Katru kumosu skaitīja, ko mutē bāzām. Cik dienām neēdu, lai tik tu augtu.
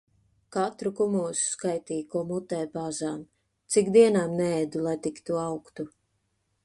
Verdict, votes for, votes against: accepted, 2, 0